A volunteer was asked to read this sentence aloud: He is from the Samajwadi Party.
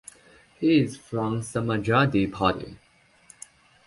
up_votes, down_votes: 1, 2